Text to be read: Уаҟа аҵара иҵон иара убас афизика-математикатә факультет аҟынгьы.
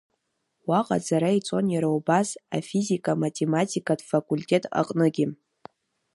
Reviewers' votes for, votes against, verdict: 0, 2, rejected